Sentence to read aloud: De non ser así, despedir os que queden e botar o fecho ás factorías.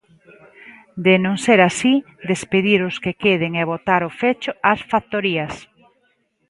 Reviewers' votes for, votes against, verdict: 2, 0, accepted